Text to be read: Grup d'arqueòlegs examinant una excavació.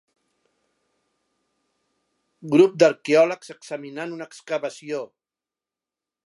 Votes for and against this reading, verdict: 3, 0, accepted